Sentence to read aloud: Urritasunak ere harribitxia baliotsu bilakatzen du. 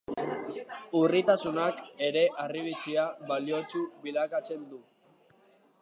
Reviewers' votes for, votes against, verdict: 2, 1, accepted